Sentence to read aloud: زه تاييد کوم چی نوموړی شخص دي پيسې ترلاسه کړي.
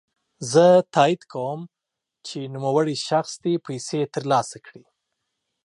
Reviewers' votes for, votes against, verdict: 4, 0, accepted